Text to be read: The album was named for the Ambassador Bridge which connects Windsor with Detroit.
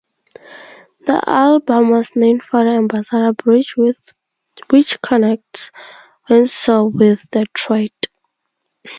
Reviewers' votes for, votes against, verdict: 0, 2, rejected